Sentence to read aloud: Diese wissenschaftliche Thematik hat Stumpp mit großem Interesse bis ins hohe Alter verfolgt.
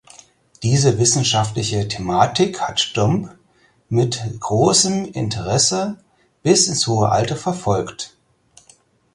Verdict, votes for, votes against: accepted, 4, 2